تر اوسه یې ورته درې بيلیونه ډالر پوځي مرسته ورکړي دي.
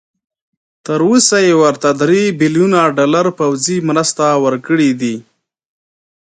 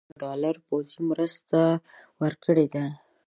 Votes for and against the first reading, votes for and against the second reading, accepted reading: 2, 0, 1, 2, first